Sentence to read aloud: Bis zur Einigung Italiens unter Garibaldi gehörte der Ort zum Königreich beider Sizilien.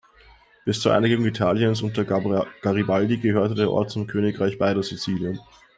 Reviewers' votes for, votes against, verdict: 1, 2, rejected